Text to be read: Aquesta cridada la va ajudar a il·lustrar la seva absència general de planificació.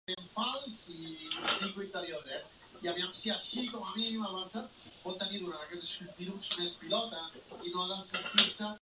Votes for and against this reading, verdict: 0, 2, rejected